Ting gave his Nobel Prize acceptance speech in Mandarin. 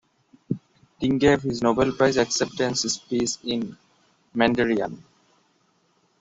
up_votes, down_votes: 0, 2